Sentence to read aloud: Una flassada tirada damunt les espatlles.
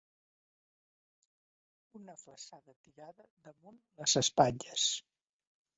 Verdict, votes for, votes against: rejected, 0, 2